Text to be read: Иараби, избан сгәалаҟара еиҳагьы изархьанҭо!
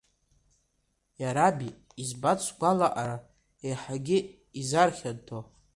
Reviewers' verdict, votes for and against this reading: rejected, 1, 2